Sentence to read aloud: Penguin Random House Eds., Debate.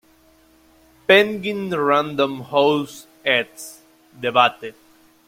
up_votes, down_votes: 1, 2